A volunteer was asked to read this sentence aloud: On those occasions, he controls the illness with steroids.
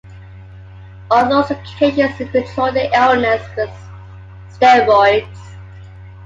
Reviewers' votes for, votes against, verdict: 2, 0, accepted